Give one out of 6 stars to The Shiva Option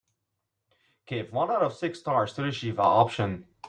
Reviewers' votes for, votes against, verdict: 0, 2, rejected